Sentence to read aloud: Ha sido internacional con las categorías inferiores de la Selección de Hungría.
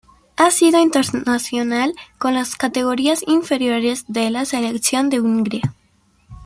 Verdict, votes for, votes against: rejected, 1, 2